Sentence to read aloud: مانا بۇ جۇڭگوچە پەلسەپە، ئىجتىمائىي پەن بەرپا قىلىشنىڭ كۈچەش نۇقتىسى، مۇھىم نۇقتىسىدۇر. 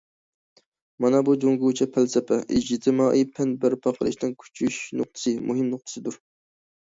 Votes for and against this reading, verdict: 0, 2, rejected